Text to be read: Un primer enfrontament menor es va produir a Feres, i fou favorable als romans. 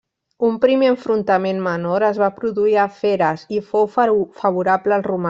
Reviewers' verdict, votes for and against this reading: rejected, 1, 2